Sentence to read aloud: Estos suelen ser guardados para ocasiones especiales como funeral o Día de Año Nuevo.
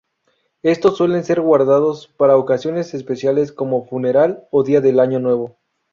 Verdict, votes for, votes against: rejected, 0, 2